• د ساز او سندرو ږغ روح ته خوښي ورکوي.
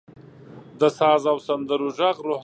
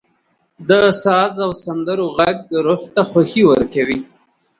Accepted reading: second